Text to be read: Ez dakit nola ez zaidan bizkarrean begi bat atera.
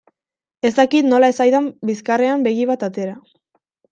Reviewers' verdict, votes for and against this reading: accepted, 2, 0